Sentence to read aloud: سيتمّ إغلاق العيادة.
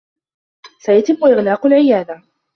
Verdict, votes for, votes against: rejected, 0, 2